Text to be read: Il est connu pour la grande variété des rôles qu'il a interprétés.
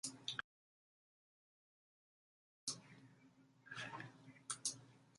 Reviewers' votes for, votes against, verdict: 0, 2, rejected